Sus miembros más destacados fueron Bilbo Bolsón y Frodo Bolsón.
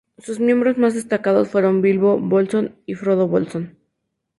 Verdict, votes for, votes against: accepted, 2, 0